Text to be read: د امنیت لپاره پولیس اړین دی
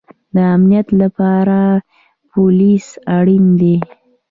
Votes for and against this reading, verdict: 2, 0, accepted